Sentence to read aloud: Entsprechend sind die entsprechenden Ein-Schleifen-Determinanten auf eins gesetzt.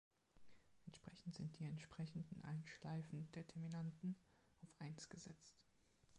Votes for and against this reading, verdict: 1, 2, rejected